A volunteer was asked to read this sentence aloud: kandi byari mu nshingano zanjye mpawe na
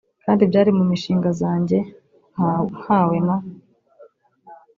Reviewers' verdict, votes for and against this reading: rejected, 0, 2